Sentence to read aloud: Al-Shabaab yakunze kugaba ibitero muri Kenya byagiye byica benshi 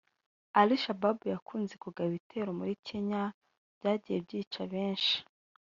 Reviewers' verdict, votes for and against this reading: rejected, 0, 2